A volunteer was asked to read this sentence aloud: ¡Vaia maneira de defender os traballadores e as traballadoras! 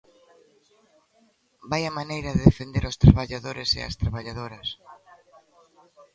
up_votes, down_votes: 2, 0